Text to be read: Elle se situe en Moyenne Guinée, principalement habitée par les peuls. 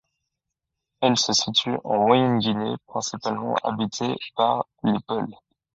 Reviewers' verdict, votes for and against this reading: accepted, 2, 0